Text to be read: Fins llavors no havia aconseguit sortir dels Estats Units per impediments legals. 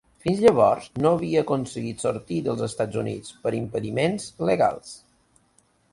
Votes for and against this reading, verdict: 2, 0, accepted